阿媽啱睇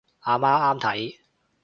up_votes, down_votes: 2, 0